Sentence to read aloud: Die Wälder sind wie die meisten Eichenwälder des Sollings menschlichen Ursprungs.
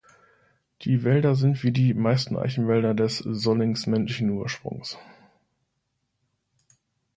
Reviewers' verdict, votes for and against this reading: rejected, 0, 2